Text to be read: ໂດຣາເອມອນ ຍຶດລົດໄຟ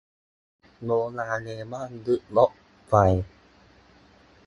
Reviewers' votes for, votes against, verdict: 0, 4, rejected